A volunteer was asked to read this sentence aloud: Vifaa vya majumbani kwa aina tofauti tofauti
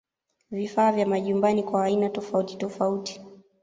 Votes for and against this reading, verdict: 0, 2, rejected